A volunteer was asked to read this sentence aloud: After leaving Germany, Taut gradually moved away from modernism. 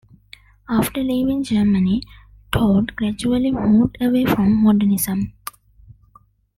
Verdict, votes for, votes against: accepted, 2, 1